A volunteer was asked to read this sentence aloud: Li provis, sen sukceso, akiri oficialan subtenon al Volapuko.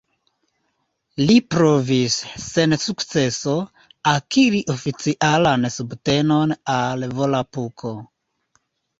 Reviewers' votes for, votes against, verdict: 2, 1, accepted